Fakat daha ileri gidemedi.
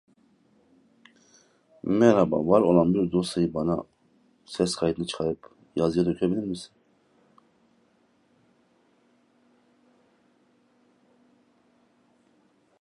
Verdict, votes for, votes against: rejected, 0, 2